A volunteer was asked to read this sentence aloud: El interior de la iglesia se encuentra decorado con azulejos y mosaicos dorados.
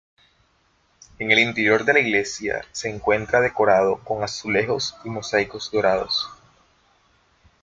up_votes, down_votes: 0, 3